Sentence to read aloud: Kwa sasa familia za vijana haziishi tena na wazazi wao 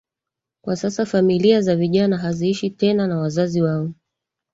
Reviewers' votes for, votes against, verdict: 3, 1, accepted